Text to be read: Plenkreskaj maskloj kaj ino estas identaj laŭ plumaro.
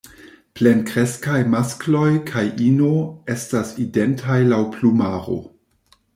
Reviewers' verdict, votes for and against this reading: accepted, 2, 1